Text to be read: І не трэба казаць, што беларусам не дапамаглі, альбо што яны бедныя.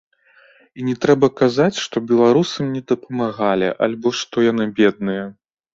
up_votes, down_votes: 1, 2